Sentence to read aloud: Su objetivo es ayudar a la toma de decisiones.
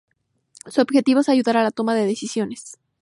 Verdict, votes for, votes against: accepted, 4, 0